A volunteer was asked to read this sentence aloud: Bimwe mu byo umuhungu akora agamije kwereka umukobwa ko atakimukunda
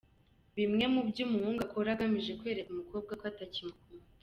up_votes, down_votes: 2, 1